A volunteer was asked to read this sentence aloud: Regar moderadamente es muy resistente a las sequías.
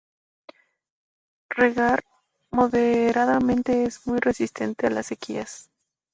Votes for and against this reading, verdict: 2, 2, rejected